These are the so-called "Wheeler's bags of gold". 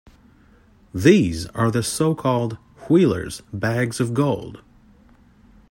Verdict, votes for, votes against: accepted, 2, 0